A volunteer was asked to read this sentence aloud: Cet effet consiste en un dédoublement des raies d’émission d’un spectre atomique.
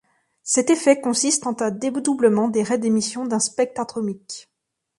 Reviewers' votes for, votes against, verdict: 2, 3, rejected